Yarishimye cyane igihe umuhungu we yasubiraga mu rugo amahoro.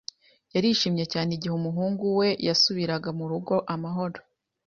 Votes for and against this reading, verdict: 2, 0, accepted